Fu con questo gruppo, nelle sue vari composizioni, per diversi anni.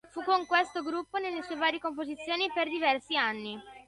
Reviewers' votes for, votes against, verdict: 2, 0, accepted